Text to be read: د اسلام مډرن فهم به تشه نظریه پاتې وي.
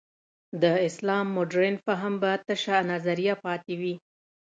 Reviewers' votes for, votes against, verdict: 2, 0, accepted